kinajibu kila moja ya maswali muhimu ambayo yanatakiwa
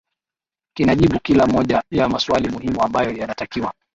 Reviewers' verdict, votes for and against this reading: rejected, 0, 2